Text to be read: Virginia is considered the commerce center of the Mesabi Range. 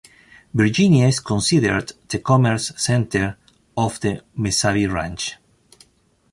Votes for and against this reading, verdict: 2, 1, accepted